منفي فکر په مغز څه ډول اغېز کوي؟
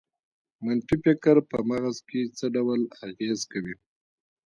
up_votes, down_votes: 0, 2